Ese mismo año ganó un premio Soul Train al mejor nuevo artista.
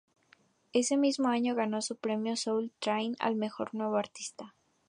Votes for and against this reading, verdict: 2, 2, rejected